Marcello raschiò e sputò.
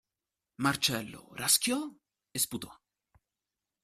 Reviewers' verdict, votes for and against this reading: accepted, 2, 0